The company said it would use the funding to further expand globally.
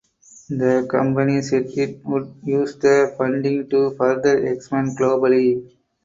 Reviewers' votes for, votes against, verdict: 4, 0, accepted